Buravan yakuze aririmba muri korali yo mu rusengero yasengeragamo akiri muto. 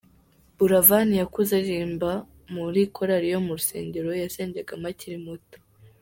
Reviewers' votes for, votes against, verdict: 2, 0, accepted